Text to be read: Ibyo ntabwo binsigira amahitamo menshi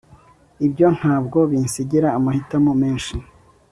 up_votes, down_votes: 3, 0